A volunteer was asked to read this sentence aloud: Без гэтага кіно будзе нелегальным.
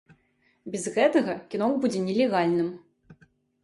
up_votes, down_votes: 2, 0